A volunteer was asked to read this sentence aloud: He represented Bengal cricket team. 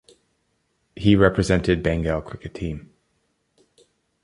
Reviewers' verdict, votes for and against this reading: accepted, 2, 0